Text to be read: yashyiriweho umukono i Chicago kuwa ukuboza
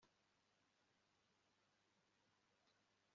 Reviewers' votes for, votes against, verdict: 1, 2, rejected